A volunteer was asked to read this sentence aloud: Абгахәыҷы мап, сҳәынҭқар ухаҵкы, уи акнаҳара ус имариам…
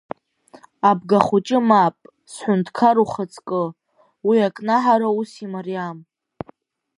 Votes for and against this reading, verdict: 3, 0, accepted